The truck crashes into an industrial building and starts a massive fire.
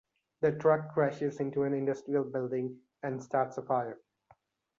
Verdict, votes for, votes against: rejected, 0, 2